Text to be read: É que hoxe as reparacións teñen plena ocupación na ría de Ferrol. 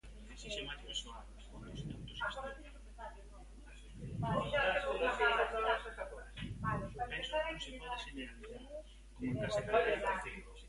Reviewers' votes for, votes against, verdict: 0, 2, rejected